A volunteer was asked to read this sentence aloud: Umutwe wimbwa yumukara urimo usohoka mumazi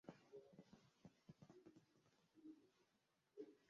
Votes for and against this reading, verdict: 0, 2, rejected